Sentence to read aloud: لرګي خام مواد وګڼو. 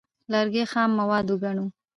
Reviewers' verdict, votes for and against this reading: rejected, 1, 2